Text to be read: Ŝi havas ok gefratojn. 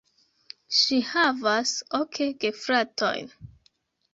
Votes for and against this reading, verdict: 0, 2, rejected